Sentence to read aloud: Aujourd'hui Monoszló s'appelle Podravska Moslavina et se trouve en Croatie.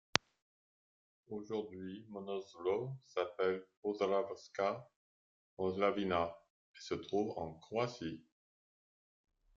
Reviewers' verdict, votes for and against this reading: accepted, 2, 0